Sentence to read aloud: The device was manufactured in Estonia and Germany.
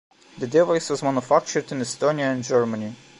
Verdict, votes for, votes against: accepted, 2, 1